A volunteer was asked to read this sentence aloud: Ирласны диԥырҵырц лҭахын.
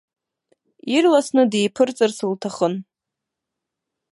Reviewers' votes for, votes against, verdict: 4, 1, accepted